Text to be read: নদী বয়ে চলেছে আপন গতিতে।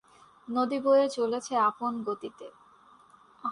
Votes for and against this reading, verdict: 2, 0, accepted